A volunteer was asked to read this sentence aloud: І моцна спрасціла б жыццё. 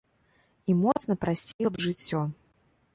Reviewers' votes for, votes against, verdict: 0, 2, rejected